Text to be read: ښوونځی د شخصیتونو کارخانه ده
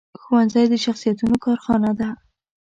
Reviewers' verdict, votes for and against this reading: accepted, 2, 0